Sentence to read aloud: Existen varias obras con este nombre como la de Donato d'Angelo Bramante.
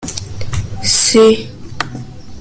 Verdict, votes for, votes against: rejected, 0, 2